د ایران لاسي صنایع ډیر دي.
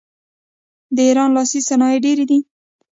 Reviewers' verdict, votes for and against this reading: rejected, 1, 2